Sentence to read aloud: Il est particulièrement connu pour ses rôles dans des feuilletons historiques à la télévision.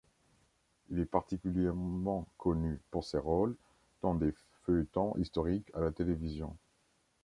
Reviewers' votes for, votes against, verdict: 1, 2, rejected